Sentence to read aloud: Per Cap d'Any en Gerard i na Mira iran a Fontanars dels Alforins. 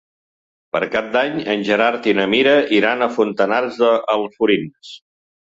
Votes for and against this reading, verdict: 0, 2, rejected